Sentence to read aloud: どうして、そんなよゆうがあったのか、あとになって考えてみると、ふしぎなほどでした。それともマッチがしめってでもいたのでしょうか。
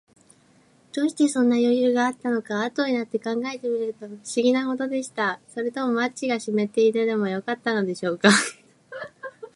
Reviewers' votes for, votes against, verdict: 2, 4, rejected